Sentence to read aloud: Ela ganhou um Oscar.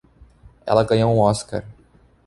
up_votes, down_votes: 2, 0